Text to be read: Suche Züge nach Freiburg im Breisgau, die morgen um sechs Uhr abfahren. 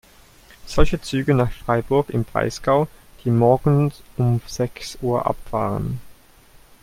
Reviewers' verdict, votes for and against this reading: rejected, 0, 2